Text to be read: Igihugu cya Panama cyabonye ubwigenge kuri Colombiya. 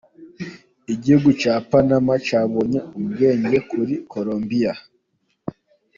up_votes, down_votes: 1, 2